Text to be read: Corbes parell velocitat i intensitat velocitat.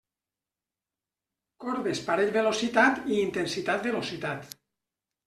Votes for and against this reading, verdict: 3, 0, accepted